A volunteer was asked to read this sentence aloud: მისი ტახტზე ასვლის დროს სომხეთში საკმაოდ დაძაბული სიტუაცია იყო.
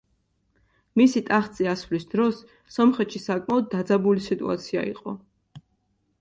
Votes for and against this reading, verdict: 3, 0, accepted